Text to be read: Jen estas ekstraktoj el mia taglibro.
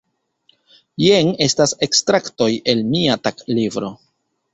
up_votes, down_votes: 2, 0